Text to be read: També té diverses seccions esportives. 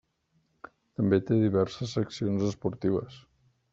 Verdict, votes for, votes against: rejected, 1, 2